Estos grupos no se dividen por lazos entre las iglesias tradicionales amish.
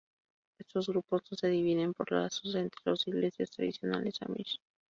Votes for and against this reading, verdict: 2, 2, rejected